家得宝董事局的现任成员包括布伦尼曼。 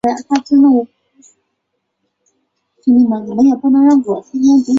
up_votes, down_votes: 0, 2